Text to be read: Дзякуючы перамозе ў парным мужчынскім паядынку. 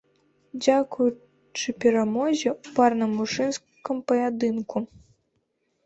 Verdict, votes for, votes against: rejected, 1, 2